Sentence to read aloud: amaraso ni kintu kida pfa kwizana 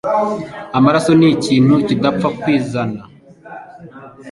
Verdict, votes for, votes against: accepted, 2, 0